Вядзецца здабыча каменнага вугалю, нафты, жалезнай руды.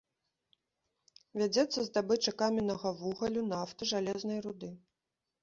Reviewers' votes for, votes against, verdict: 0, 2, rejected